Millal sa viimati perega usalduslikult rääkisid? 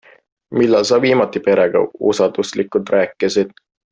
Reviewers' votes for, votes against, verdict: 2, 0, accepted